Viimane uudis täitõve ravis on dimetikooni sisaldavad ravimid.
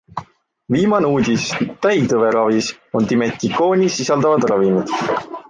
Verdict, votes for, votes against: accepted, 2, 0